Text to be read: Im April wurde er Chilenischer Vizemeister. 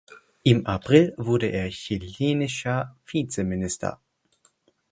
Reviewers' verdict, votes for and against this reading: rejected, 0, 4